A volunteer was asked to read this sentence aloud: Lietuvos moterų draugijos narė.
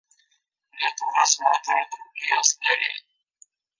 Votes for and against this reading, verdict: 0, 2, rejected